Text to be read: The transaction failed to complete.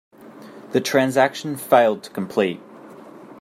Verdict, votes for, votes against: accepted, 2, 0